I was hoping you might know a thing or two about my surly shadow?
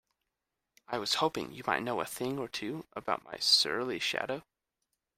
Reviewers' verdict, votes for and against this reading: accepted, 2, 0